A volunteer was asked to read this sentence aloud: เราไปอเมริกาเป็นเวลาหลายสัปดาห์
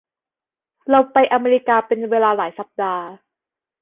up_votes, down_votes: 2, 0